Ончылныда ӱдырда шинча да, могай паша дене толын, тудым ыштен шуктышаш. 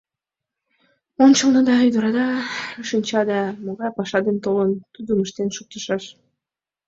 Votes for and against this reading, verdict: 0, 2, rejected